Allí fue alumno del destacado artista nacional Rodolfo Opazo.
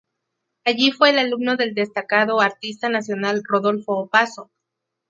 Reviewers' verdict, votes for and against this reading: rejected, 0, 2